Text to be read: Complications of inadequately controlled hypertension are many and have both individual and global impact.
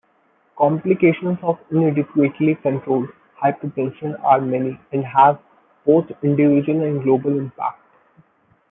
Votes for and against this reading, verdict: 1, 2, rejected